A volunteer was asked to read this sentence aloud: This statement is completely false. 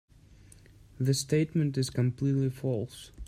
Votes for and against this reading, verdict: 0, 2, rejected